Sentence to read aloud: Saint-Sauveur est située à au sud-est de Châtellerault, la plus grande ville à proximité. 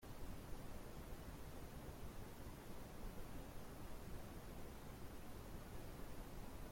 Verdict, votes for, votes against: rejected, 0, 2